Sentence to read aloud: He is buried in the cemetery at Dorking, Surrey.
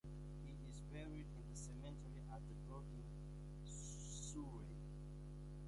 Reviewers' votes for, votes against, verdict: 0, 2, rejected